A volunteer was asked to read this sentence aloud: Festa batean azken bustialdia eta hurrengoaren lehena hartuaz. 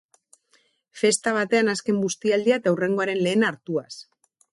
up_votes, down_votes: 4, 0